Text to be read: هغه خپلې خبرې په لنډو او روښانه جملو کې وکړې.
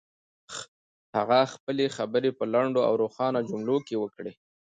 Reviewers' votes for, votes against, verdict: 2, 0, accepted